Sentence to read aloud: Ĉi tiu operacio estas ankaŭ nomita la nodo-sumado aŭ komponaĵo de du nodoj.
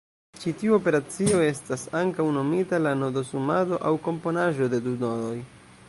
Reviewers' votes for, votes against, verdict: 2, 0, accepted